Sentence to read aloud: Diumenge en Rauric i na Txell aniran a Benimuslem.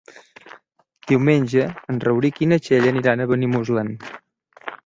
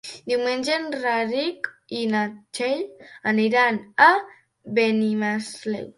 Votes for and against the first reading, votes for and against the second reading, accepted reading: 3, 0, 0, 2, first